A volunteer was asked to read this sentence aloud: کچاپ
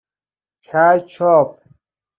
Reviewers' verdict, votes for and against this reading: rejected, 0, 2